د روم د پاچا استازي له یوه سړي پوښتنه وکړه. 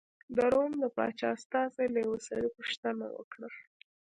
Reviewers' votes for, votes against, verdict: 2, 1, accepted